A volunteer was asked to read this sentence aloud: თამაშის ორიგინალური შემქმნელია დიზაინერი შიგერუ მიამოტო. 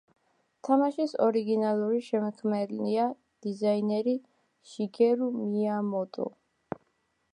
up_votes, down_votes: 2, 1